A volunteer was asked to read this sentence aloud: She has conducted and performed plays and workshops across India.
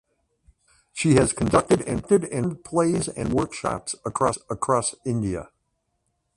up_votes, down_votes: 0, 2